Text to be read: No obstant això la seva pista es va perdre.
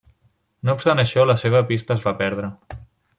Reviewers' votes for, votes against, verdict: 3, 0, accepted